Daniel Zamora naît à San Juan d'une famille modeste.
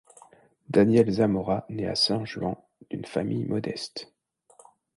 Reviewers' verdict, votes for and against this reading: accepted, 2, 0